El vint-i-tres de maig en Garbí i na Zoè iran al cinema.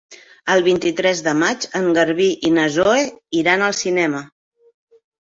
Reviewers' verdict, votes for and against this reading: rejected, 0, 2